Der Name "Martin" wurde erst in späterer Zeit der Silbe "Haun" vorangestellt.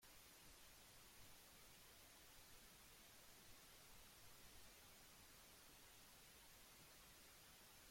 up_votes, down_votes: 0, 2